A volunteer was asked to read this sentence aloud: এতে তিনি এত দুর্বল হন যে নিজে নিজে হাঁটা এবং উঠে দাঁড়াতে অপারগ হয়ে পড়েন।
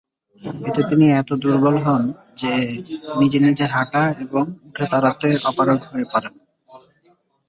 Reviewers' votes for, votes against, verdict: 0, 2, rejected